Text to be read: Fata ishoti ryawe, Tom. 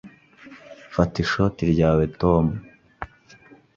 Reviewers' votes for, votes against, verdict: 2, 0, accepted